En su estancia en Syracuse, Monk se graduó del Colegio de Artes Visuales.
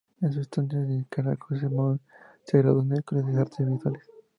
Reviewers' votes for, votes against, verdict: 2, 2, rejected